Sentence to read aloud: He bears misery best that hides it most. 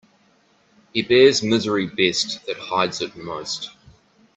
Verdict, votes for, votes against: accepted, 2, 1